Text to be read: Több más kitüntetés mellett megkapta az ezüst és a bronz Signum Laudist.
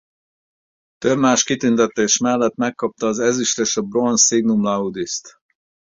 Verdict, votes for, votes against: accepted, 4, 0